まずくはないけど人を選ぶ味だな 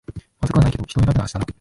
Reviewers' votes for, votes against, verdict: 1, 2, rejected